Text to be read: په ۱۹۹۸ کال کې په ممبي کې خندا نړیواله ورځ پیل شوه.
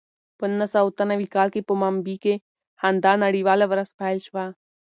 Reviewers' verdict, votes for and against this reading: rejected, 0, 2